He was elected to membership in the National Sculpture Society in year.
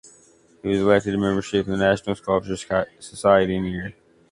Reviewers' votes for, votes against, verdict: 0, 2, rejected